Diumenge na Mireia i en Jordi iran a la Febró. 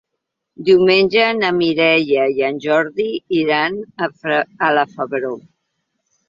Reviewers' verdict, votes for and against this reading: rejected, 0, 3